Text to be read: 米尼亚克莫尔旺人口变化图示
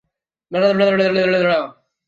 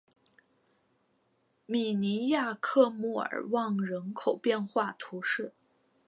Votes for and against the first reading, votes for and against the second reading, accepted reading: 0, 2, 3, 1, second